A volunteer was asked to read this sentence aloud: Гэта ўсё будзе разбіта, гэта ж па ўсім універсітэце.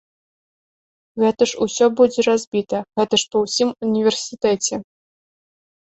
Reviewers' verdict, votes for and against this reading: rejected, 0, 2